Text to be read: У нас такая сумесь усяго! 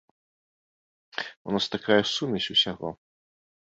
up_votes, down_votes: 2, 0